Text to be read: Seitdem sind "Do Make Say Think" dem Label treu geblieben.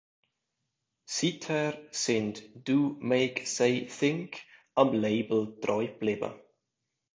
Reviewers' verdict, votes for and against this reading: rejected, 0, 2